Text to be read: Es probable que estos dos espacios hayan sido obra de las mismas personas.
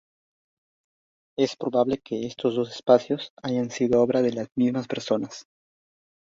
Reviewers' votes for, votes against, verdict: 2, 0, accepted